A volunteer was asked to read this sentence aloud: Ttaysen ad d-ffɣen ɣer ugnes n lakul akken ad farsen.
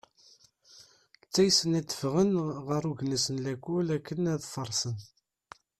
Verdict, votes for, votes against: rejected, 1, 2